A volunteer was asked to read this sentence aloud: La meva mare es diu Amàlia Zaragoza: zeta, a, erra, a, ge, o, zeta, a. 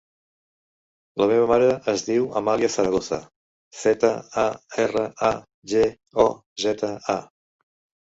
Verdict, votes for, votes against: rejected, 0, 2